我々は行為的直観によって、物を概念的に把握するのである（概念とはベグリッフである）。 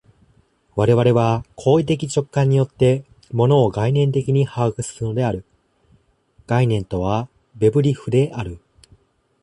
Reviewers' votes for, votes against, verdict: 1, 2, rejected